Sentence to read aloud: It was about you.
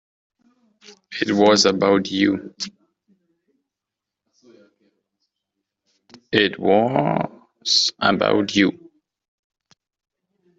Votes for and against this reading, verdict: 0, 2, rejected